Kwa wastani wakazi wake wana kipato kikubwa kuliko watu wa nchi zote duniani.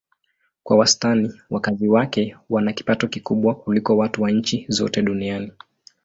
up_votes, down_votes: 2, 0